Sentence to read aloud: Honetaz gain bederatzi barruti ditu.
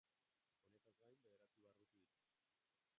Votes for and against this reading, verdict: 0, 2, rejected